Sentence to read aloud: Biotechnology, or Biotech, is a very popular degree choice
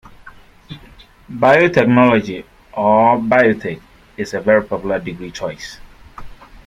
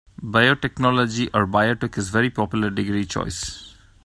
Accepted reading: first